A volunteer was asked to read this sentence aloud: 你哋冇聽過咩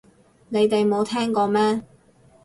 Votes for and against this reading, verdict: 2, 0, accepted